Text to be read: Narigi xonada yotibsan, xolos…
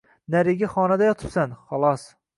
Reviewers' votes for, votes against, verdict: 2, 0, accepted